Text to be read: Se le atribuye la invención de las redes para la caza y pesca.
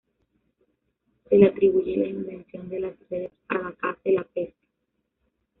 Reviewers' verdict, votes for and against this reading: rejected, 1, 2